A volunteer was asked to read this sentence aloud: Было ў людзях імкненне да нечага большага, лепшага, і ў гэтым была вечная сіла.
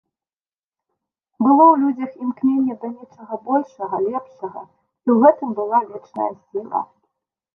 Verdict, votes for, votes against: rejected, 0, 2